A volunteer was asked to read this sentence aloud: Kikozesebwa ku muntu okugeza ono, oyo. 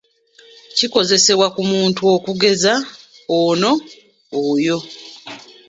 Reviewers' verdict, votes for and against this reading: accepted, 2, 0